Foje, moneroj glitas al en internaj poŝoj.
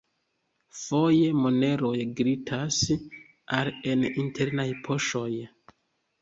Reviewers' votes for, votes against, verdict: 2, 0, accepted